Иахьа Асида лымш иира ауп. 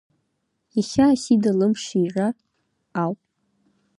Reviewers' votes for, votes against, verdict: 2, 1, accepted